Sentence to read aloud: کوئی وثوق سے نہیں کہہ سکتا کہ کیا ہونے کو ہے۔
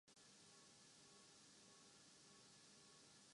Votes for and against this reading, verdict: 1, 2, rejected